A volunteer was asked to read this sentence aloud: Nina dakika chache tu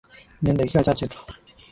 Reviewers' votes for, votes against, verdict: 2, 0, accepted